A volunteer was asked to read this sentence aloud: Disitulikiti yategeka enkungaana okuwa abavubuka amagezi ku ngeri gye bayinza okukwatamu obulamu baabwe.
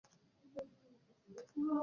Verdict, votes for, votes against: rejected, 0, 2